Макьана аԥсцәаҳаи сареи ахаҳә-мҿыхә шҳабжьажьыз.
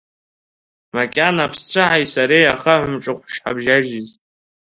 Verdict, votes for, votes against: rejected, 1, 2